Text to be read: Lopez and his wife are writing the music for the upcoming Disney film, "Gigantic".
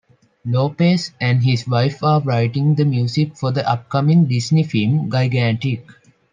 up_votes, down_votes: 0, 2